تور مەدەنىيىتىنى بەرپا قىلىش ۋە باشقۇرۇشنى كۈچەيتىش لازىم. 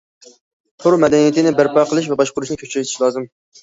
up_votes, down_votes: 1, 2